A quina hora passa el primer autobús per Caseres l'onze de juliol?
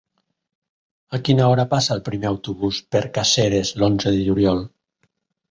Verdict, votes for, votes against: accepted, 2, 0